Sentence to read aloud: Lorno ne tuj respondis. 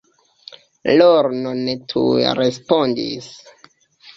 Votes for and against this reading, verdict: 2, 1, accepted